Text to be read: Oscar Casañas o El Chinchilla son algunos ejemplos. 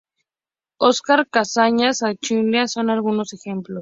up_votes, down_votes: 0, 2